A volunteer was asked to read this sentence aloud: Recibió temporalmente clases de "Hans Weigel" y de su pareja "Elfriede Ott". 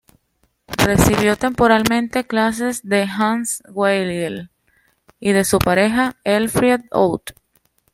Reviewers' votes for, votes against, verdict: 2, 0, accepted